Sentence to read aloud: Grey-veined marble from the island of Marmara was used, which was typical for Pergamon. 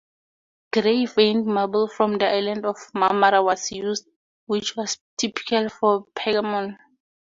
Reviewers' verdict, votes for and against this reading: accepted, 4, 0